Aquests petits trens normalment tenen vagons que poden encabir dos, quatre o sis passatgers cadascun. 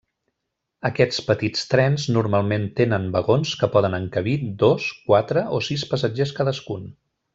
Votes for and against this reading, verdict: 3, 0, accepted